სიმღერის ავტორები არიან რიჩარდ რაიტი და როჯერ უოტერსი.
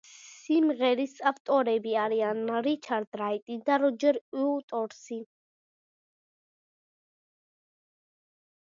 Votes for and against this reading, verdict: 1, 2, rejected